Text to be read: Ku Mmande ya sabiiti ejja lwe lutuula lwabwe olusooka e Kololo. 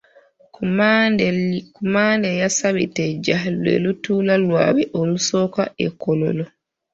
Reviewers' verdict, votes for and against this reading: rejected, 0, 2